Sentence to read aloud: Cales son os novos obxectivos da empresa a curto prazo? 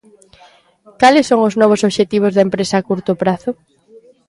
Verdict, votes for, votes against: accepted, 2, 0